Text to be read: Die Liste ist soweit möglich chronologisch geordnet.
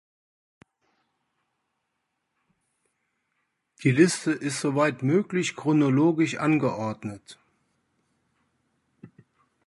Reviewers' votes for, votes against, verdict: 0, 2, rejected